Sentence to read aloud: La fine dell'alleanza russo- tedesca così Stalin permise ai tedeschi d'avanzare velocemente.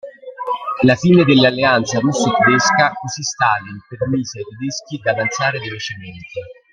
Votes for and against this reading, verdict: 1, 2, rejected